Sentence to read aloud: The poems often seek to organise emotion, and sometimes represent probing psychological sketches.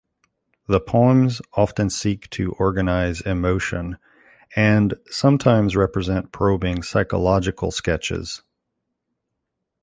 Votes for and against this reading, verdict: 0, 2, rejected